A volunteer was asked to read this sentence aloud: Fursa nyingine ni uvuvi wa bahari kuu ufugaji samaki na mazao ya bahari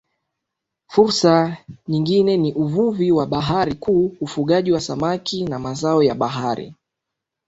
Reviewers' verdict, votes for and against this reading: accepted, 2, 1